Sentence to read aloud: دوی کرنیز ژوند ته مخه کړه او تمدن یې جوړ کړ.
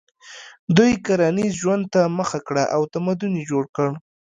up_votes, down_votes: 2, 0